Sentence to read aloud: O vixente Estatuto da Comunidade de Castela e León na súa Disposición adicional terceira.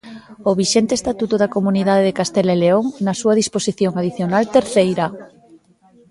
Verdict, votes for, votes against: rejected, 1, 2